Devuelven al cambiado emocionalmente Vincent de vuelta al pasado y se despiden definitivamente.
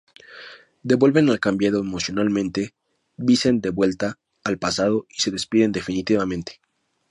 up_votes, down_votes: 2, 0